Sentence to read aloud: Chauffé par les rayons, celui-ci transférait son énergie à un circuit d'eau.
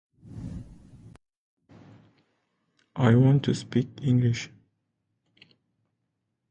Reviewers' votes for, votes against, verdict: 0, 2, rejected